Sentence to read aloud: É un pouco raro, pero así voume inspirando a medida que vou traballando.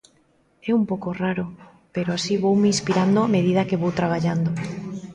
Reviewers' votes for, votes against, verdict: 1, 2, rejected